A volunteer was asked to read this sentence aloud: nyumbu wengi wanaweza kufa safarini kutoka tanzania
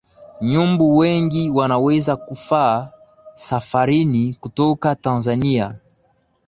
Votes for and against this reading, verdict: 0, 2, rejected